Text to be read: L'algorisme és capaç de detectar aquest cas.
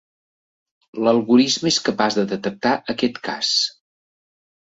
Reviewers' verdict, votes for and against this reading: accepted, 2, 0